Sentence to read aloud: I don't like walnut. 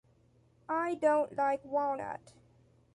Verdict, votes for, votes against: accepted, 2, 0